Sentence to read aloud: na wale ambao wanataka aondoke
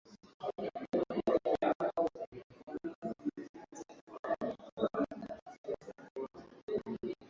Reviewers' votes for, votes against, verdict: 0, 2, rejected